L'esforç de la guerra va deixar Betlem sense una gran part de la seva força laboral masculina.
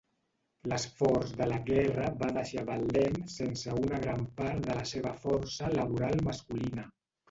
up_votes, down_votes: 0, 2